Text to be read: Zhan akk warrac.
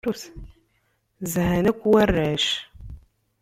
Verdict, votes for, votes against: rejected, 1, 2